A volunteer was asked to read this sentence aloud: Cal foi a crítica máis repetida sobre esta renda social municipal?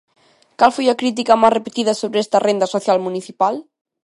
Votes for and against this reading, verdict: 2, 0, accepted